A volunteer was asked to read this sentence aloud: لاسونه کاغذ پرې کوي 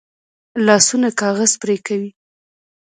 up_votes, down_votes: 1, 2